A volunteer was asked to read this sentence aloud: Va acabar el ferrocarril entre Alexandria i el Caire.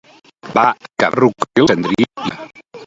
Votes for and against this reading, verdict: 0, 2, rejected